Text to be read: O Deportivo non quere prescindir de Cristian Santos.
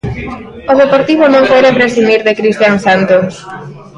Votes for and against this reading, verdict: 1, 3, rejected